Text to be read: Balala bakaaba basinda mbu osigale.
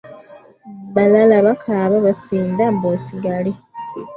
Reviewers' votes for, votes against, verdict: 2, 0, accepted